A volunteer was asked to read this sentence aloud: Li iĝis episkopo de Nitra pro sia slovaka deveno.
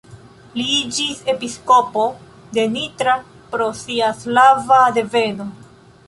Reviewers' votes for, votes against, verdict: 1, 2, rejected